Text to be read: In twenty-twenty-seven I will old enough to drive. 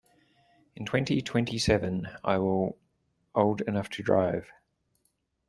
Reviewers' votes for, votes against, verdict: 0, 2, rejected